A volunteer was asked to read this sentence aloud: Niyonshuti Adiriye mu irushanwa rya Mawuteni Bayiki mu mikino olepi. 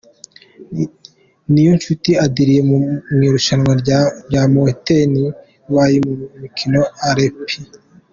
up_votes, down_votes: 0, 2